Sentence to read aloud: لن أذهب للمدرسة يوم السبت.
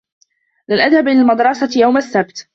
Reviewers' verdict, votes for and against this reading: accepted, 2, 1